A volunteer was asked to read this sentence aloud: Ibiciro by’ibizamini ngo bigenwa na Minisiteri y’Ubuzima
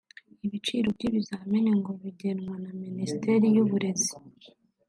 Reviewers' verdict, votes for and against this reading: rejected, 1, 2